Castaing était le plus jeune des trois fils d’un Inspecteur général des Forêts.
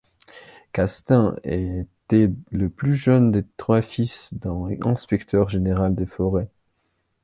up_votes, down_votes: 0, 2